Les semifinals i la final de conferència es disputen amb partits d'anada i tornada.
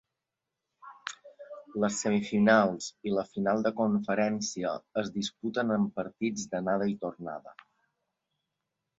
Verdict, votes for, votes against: accepted, 2, 0